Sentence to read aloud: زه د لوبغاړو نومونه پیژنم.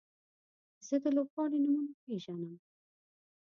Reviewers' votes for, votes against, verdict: 2, 0, accepted